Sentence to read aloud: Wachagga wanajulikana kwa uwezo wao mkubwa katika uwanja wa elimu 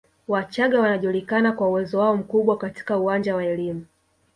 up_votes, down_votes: 1, 2